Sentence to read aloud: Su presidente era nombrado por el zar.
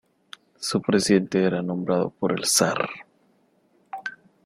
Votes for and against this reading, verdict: 0, 2, rejected